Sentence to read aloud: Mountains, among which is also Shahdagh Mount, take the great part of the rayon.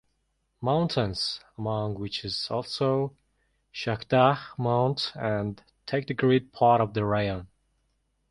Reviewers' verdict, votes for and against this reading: rejected, 1, 3